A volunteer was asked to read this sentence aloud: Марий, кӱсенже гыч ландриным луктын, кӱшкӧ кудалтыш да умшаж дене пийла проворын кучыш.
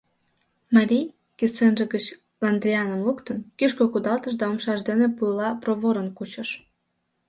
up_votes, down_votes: 0, 2